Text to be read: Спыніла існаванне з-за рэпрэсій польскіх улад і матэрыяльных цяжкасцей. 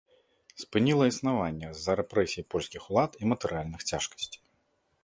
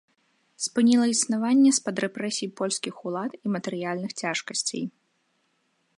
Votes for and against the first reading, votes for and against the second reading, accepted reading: 2, 0, 0, 2, first